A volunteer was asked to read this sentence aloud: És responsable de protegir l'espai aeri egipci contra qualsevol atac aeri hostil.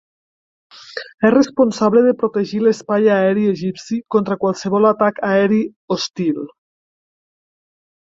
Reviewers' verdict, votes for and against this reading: accepted, 3, 0